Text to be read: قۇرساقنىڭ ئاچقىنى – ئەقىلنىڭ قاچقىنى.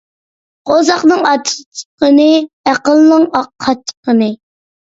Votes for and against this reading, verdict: 0, 2, rejected